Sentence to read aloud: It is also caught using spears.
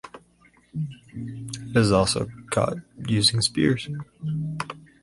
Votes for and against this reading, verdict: 4, 0, accepted